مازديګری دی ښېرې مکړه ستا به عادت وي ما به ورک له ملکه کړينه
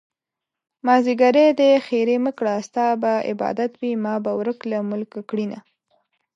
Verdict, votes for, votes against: rejected, 1, 2